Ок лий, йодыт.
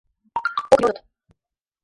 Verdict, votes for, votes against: rejected, 0, 2